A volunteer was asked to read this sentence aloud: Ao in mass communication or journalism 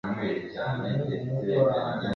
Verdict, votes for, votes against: rejected, 0, 2